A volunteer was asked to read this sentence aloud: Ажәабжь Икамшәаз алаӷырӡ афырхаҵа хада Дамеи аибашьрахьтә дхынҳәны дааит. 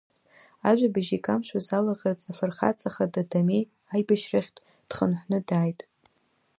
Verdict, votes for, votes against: accepted, 2, 0